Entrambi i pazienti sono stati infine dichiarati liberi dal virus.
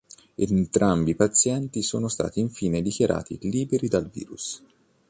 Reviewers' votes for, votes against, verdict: 2, 0, accepted